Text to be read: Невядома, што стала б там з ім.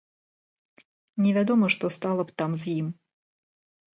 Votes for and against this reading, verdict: 2, 0, accepted